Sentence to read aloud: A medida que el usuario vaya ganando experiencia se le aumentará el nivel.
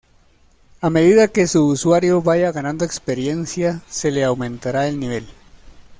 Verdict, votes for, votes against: rejected, 1, 2